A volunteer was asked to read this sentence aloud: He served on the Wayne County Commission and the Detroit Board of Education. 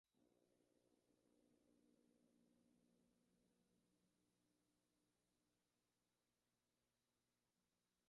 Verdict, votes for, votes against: rejected, 0, 2